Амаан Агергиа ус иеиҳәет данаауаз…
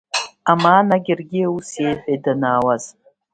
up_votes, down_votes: 2, 0